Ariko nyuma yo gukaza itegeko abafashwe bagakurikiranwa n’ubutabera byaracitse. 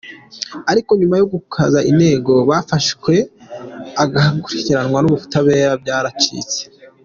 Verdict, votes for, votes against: rejected, 0, 2